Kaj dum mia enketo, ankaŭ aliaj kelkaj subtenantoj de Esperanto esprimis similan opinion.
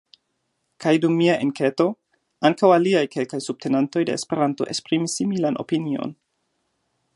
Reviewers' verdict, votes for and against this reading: accepted, 2, 0